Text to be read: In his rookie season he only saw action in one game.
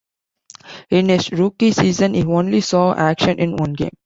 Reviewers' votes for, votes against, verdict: 2, 0, accepted